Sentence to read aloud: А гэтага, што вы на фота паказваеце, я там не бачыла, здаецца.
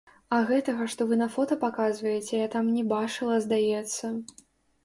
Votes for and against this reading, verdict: 0, 3, rejected